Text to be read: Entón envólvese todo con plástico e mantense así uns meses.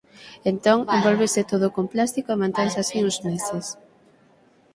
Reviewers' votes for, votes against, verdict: 3, 6, rejected